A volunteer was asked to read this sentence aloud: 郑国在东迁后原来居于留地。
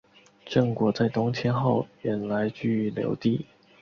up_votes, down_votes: 6, 0